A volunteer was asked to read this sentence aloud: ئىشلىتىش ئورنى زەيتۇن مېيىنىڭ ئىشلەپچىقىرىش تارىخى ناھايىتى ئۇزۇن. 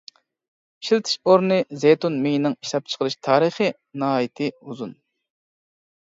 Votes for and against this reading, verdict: 2, 0, accepted